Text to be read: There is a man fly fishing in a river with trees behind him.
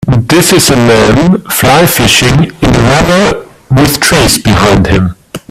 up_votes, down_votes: 0, 2